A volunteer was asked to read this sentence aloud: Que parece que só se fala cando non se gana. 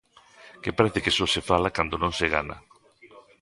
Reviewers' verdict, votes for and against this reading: rejected, 0, 2